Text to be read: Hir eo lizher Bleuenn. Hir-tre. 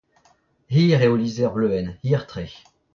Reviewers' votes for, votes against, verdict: 0, 2, rejected